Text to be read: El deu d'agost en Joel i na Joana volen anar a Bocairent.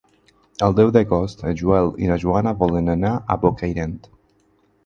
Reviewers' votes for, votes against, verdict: 4, 0, accepted